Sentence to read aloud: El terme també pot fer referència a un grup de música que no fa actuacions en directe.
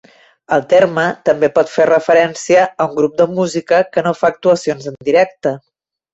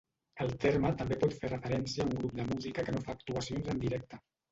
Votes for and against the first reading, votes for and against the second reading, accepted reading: 3, 0, 0, 2, first